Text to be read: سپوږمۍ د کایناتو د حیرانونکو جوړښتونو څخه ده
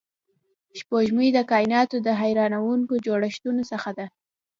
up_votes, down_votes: 3, 0